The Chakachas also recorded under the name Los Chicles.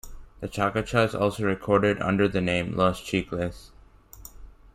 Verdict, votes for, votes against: rejected, 1, 2